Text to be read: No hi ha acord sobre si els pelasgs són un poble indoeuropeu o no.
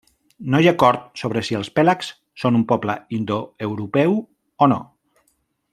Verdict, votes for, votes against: rejected, 1, 2